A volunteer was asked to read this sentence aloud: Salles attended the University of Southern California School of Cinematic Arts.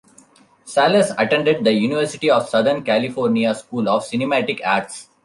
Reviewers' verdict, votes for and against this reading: accepted, 2, 0